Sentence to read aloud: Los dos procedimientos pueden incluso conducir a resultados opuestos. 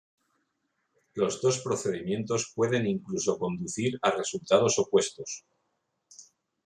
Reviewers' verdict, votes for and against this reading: accepted, 2, 0